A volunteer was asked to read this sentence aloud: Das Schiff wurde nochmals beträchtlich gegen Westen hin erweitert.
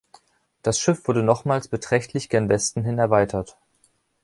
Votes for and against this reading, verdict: 0, 3, rejected